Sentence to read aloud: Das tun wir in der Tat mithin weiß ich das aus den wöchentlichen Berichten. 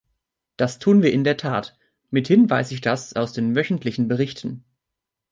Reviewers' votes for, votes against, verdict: 3, 0, accepted